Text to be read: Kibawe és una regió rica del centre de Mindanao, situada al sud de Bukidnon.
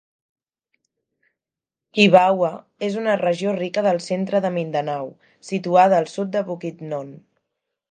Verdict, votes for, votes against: accepted, 4, 0